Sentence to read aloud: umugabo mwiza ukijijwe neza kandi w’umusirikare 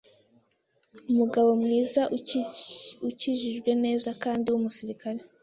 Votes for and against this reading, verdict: 1, 2, rejected